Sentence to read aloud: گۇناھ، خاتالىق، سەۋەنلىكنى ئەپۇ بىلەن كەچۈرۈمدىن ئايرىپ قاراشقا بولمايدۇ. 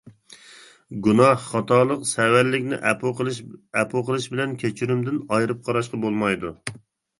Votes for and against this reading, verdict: 0, 2, rejected